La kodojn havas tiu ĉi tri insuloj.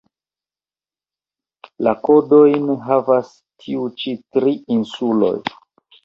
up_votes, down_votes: 1, 2